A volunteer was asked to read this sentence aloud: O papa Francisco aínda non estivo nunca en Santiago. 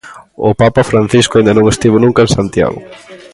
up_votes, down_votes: 2, 3